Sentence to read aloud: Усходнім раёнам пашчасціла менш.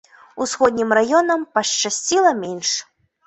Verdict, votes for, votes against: accepted, 2, 1